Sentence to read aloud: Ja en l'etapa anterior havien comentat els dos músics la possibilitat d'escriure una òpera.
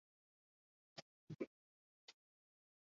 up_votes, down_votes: 1, 2